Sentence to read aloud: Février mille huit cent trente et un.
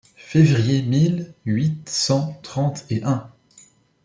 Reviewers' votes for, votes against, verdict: 0, 2, rejected